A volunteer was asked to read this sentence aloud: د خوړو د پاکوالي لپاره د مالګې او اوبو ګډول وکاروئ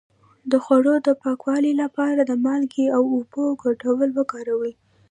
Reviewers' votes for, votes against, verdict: 1, 2, rejected